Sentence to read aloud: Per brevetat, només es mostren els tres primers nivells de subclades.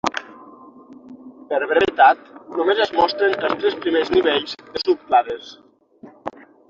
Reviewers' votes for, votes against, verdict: 0, 6, rejected